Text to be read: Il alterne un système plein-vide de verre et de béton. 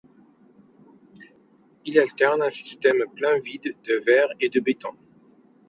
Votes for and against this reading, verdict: 2, 0, accepted